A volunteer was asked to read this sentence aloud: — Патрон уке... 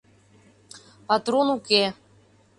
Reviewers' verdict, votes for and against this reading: accepted, 2, 0